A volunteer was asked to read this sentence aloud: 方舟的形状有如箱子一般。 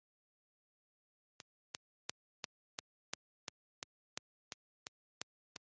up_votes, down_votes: 0, 2